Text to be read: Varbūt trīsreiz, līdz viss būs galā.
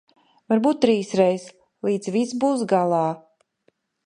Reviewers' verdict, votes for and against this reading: accepted, 2, 0